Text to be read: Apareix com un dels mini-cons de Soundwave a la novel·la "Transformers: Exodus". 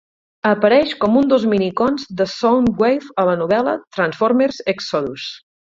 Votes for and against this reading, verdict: 2, 4, rejected